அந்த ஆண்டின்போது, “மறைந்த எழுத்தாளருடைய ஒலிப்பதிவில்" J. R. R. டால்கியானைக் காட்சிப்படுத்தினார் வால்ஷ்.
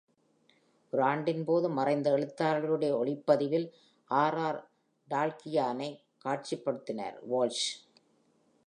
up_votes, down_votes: 0, 2